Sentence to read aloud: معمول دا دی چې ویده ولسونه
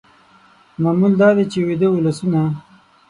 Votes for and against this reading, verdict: 6, 0, accepted